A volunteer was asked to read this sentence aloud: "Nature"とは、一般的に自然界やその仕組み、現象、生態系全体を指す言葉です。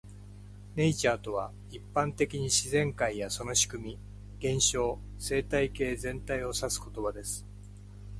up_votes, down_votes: 2, 0